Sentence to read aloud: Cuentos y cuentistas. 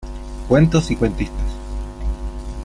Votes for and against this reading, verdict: 2, 0, accepted